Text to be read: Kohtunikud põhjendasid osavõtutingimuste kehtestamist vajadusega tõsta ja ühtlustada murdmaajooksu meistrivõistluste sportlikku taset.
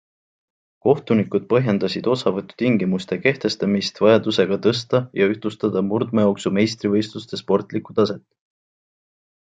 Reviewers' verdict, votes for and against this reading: accepted, 2, 0